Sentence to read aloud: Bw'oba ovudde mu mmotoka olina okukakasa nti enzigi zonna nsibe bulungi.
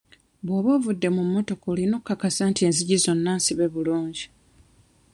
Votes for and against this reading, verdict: 1, 2, rejected